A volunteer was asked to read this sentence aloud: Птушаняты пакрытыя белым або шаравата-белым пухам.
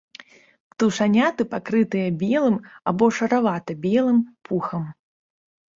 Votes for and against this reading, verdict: 2, 0, accepted